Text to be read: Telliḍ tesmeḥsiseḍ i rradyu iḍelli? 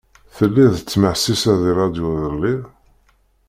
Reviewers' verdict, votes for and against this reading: rejected, 0, 2